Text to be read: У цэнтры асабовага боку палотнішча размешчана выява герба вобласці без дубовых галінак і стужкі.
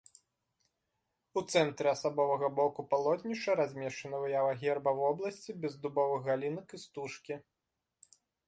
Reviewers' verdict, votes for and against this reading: accepted, 2, 0